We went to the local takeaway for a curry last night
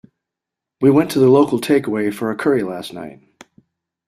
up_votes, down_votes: 2, 0